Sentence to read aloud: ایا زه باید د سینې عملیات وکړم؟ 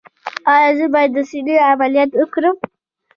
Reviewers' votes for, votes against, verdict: 1, 2, rejected